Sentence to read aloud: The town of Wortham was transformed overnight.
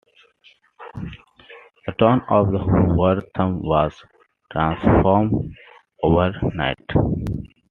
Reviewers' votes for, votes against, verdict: 2, 1, accepted